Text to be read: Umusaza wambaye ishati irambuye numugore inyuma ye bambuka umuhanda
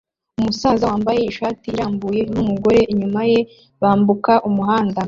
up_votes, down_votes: 2, 0